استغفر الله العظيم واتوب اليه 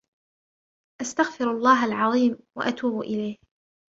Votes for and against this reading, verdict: 2, 1, accepted